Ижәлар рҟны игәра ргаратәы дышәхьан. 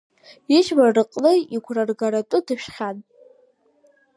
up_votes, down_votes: 2, 1